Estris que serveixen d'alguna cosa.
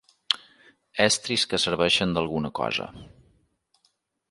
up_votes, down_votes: 3, 0